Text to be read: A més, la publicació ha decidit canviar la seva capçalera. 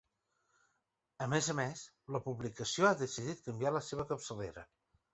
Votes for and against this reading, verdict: 0, 2, rejected